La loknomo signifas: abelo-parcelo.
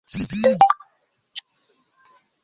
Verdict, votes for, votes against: rejected, 0, 2